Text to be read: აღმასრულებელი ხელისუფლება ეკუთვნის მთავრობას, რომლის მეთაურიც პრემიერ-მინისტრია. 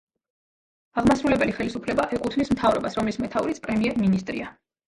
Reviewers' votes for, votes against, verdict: 0, 2, rejected